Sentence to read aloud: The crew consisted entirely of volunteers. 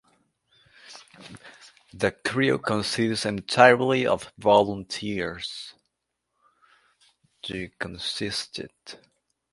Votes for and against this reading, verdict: 0, 2, rejected